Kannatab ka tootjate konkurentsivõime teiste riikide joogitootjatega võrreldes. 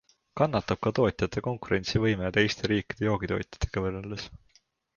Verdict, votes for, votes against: accepted, 2, 0